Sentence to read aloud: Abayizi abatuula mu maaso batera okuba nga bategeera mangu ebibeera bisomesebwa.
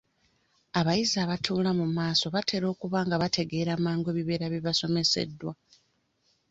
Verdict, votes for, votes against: rejected, 0, 2